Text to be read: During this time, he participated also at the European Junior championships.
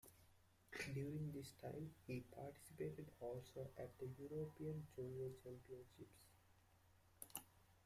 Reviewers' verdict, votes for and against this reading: rejected, 0, 2